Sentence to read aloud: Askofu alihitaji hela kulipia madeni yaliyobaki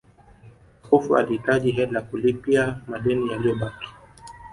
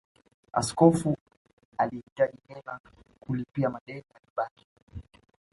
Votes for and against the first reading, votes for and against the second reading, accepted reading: 6, 2, 0, 2, first